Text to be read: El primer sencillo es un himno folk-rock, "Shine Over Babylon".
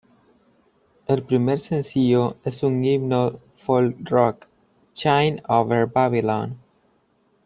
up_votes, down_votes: 2, 1